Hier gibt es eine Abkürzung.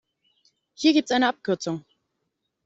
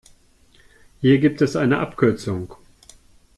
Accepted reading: second